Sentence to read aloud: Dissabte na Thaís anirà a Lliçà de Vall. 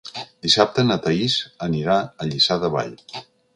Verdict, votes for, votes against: accepted, 3, 0